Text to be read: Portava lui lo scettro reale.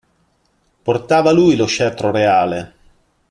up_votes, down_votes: 2, 0